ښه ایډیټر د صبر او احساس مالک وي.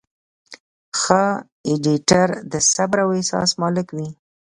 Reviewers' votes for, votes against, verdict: 2, 1, accepted